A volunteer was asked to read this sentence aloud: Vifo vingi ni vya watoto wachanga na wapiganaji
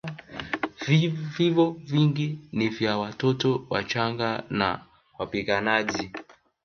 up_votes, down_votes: 0, 2